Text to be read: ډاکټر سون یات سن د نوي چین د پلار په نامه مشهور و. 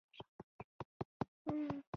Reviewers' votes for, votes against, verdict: 1, 2, rejected